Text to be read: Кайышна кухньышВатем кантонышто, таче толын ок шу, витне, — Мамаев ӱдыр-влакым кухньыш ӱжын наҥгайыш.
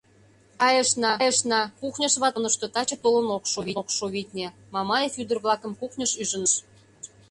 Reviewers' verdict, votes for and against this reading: rejected, 0, 2